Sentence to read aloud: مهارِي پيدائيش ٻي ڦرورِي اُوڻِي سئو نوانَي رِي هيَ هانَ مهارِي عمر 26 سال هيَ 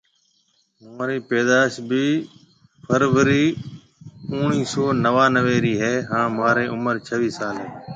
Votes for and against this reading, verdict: 0, 2, rejected